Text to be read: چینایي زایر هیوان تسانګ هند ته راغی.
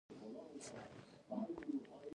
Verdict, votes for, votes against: rejected, 0, 2